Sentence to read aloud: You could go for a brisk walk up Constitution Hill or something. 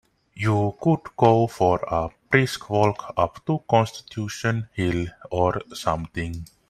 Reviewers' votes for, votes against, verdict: 1, 2, rejected